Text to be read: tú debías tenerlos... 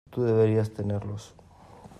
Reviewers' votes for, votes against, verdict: 0, 2, rejected